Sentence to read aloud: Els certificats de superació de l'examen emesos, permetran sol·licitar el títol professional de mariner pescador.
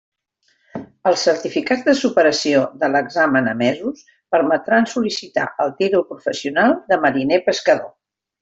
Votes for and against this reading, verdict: 2, 0, accepted